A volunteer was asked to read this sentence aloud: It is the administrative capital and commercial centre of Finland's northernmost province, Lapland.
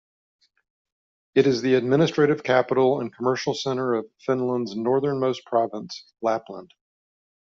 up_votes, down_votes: 2, 1